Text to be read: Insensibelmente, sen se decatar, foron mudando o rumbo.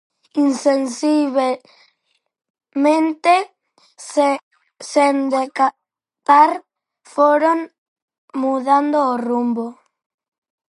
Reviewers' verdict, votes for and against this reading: rejected, 0, 4